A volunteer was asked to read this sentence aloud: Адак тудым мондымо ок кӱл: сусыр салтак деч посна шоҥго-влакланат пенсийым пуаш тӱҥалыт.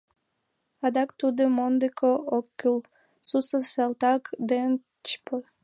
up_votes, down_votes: 1, 2